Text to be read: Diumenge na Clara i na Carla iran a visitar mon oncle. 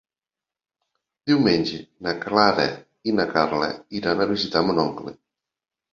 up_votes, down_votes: 3, 0